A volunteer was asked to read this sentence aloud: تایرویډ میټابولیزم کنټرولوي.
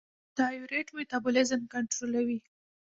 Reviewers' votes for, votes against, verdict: 1, 2, rejected